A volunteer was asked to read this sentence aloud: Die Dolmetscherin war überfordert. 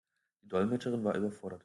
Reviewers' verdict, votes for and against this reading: rejected, 1, 2